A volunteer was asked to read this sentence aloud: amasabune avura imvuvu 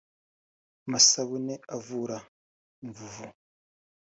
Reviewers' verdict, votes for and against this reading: rejected, 0, 2